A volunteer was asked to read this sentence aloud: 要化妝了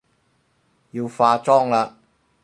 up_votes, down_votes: 2, 4